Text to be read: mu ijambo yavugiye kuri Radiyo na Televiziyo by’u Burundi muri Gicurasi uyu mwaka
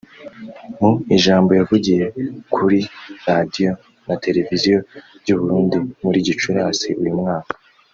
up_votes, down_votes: 0, 2